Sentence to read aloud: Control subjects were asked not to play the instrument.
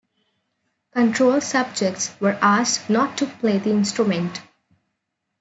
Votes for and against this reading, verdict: 3, 1, accepted